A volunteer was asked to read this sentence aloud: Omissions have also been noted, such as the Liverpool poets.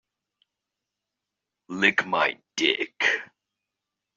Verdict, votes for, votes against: rejected, 0, 2